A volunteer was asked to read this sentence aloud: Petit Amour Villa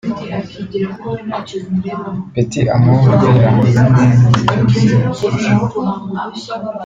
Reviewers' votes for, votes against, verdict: 0, 2, rejected